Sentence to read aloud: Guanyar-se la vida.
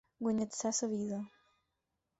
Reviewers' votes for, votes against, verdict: 0, 4, rejected